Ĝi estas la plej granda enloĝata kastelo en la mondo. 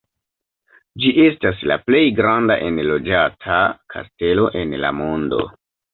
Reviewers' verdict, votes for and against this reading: accepted, 2, 1